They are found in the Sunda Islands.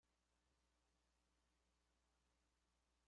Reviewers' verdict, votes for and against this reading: rejected, 0, 2